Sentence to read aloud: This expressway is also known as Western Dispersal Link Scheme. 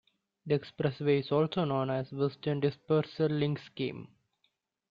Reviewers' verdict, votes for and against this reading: rejected, 0, 2